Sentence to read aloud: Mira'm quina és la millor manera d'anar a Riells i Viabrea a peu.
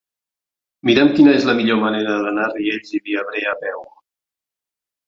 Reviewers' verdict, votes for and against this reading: accepted, 3, 0